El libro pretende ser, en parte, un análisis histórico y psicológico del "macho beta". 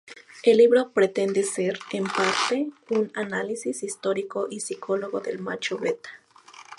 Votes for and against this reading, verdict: 0, 2, rejected